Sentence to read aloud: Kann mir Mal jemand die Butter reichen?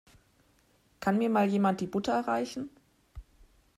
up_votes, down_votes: 2, 0